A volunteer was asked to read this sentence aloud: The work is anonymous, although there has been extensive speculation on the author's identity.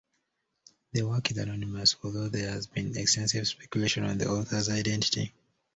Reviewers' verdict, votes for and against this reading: accepted, 2, 0